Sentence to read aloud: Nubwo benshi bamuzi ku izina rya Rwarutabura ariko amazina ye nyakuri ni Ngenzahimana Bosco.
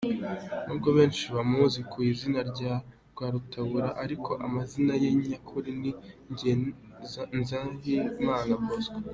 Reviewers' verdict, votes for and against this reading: rejected, 1, 2